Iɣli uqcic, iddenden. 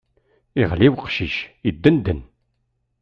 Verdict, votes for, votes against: accepted, 2, 0